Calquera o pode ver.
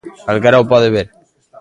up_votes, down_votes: 0, 2